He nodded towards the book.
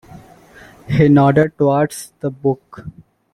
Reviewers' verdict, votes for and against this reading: accepted, 2, 0